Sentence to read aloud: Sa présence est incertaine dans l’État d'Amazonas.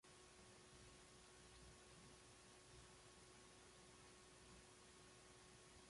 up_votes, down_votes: 0, 2